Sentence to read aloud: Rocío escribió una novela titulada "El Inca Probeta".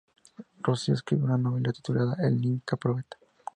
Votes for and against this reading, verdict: 4, 2, accepted